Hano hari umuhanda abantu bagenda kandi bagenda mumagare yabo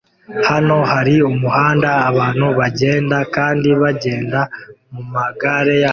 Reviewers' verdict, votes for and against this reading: rejected, 1, 2